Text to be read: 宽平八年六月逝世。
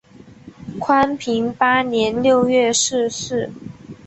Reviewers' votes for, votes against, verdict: 2, 0, accepted